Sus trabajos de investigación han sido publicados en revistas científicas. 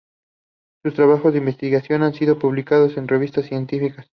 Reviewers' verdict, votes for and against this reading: accepted, 2, 0